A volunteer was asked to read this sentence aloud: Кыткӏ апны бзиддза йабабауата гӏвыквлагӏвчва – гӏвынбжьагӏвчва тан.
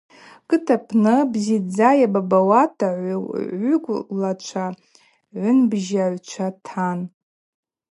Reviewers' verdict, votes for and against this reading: rejected, 0, 2